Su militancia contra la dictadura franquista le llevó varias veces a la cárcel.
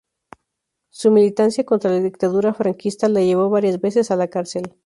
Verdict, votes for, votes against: accepted, 2, 0